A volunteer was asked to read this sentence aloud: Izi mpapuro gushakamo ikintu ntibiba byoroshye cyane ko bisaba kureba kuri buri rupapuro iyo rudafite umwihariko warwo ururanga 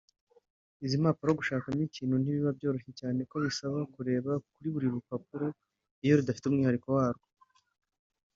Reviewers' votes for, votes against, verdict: 0, 2, rejected